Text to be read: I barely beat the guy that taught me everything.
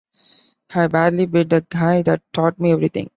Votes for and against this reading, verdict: 2, 0, accepted